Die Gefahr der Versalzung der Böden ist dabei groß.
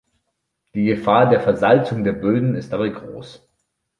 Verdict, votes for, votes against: accepted, 2, 0